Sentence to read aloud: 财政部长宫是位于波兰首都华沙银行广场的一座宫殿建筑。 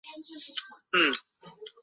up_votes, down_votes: 0, 2